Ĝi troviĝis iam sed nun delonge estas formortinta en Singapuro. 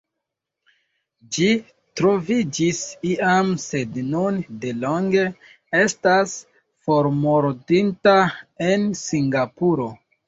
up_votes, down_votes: 0, 2